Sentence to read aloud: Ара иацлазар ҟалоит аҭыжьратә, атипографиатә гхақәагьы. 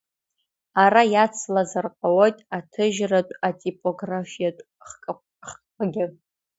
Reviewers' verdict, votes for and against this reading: rejected, 1, 2